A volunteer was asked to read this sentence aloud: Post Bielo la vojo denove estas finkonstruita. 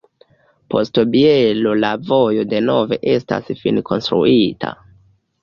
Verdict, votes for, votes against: rejected, 1, 2